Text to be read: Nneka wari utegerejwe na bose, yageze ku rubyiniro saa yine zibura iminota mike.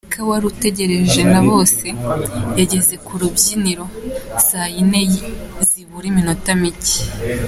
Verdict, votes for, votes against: accepted, 2, 0